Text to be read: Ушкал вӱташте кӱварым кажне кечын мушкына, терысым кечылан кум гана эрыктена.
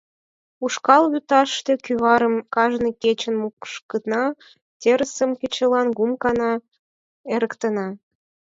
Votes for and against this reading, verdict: 4, 0, accepted